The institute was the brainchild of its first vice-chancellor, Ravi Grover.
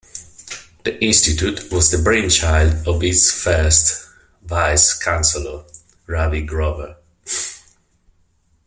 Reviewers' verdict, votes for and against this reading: rejected, 1, 2